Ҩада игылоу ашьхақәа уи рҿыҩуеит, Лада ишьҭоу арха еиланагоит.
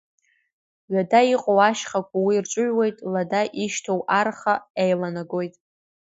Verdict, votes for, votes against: rejected, 0, 2